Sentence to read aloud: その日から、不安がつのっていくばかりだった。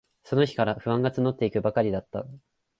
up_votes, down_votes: 6, 0